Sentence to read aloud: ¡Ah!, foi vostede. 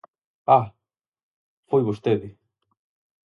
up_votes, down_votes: 4, 0